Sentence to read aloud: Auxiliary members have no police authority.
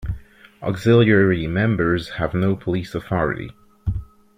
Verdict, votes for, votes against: accepted, 2, 1